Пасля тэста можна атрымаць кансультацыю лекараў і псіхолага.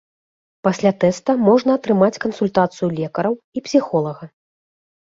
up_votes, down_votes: 2, 0